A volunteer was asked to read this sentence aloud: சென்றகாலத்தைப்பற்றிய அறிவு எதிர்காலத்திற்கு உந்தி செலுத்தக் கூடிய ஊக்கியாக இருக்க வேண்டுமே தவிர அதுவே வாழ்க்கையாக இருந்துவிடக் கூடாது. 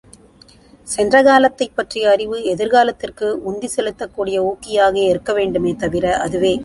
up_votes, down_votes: 0, 2